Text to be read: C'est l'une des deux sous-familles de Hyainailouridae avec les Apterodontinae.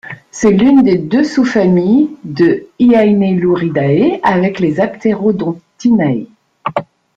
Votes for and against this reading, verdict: 2, 0, accepted